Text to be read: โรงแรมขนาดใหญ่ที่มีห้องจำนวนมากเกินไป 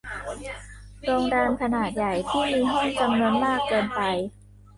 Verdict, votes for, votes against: rejected, 0, 2